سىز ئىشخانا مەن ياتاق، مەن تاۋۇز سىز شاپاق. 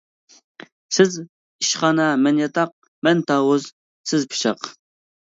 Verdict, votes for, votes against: rejected, 0, 2